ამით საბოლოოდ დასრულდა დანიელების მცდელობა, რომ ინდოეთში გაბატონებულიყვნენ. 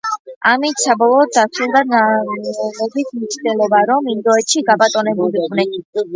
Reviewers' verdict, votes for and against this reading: rejected, 0, 2